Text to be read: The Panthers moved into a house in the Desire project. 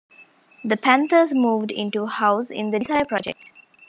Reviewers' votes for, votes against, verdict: 0, 2, rejected